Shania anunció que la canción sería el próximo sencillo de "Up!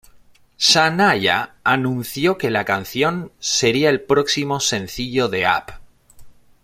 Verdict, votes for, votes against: accepted, 2, 1